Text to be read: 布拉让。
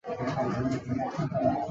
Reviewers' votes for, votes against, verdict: 0, 2, rejected